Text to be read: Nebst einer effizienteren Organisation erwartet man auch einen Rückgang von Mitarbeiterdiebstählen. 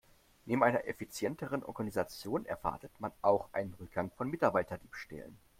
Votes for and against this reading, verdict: 0, 2, rejected